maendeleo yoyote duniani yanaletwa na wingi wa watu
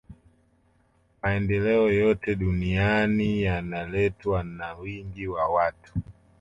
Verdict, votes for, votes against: accepted, 2, 1